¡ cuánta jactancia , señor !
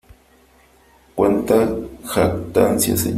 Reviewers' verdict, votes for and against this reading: rejected, 0, 2